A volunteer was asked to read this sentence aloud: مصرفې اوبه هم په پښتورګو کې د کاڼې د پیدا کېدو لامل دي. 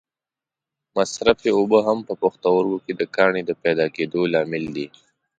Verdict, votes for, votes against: accepted, 2, 1